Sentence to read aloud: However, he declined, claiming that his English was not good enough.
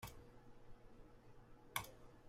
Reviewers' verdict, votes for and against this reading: rejected, 0, 2